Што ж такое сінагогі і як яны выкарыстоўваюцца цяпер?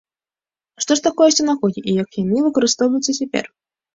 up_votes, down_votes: 2, 0